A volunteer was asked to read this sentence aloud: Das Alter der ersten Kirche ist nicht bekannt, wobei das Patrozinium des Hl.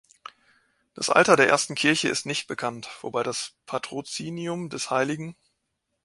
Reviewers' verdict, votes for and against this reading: rejected, 1, 2